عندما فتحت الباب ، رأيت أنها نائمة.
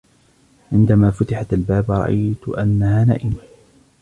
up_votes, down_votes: 1, 2